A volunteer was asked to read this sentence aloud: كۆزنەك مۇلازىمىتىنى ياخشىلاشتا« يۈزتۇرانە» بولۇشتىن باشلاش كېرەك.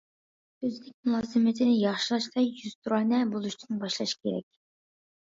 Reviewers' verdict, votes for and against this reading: accepted, 2, 0